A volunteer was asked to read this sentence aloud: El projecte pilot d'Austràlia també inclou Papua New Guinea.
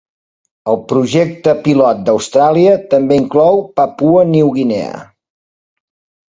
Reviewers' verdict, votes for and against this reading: accepted, 2, 0